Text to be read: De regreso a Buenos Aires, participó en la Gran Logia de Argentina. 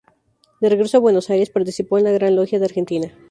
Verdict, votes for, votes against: accepted, 2, 0